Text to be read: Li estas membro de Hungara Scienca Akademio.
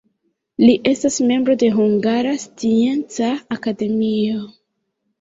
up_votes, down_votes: 1, 2